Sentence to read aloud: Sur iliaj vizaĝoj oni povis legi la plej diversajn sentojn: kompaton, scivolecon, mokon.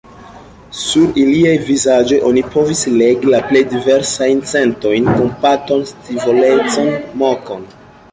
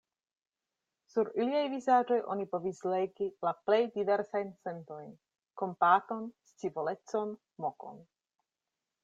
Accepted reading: second